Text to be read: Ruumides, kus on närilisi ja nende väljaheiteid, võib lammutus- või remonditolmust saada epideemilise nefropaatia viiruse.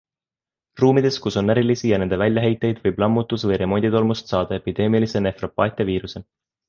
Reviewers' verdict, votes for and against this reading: accepted, 2, 1